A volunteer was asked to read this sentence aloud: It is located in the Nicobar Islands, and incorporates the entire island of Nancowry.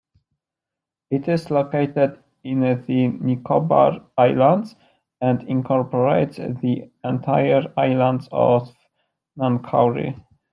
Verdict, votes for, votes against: rejected, 1, 2